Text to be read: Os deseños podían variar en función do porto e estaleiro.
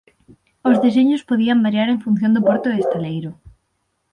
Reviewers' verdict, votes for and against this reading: rejected, 3, 6